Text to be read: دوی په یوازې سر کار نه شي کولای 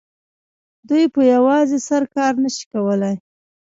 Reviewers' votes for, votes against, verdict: 0, 2, rejected